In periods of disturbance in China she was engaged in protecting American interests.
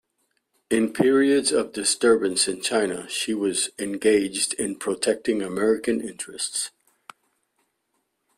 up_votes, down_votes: 2, 0